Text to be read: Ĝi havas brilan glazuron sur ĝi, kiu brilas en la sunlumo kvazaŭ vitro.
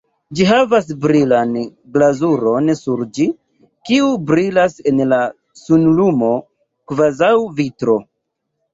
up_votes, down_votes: 1, 2